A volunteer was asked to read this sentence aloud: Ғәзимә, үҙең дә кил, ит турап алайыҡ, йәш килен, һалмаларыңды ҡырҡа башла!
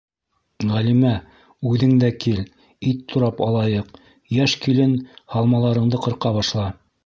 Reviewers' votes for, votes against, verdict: 1, 2, rejected